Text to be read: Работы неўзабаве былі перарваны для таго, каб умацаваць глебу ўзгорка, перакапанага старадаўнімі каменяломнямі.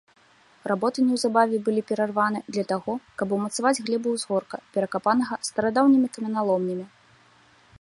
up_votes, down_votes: 2, 0